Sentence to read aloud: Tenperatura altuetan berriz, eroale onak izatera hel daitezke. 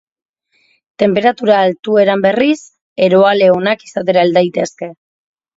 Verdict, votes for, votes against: rejected, 0, 3